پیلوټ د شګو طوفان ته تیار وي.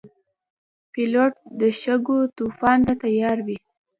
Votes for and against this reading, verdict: 2, 1, accepted